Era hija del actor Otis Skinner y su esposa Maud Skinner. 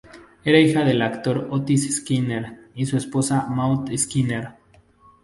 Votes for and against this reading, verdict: 2, 0, accepted